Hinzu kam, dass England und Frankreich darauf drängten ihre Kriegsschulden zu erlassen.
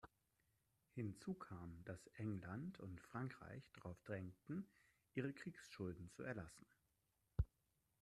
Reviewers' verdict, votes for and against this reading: accepted, 2, 1